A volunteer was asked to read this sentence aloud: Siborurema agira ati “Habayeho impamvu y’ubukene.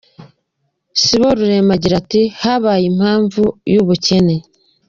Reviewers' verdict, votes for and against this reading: accepted, 2, 0